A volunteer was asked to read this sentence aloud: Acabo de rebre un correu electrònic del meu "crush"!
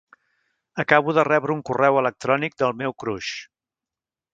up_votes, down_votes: 2, 0